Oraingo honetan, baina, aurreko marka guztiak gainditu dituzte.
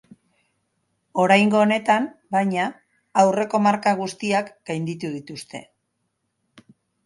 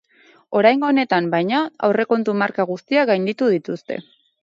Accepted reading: first